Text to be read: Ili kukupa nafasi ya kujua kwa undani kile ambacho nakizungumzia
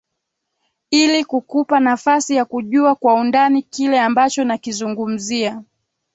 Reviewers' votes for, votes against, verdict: 2, 0, accepted